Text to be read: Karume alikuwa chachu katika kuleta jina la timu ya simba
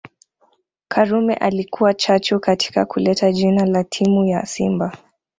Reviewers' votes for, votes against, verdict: 2, 0, accepted